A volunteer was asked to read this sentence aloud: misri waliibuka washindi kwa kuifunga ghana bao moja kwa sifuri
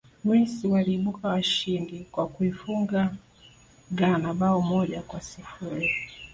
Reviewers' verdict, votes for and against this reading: accepted, 2, 1